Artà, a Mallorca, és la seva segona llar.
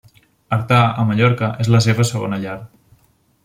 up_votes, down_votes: 2, 1